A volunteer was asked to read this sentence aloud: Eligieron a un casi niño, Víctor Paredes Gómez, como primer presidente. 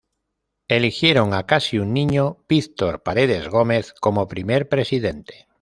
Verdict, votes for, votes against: rejected, 0, 2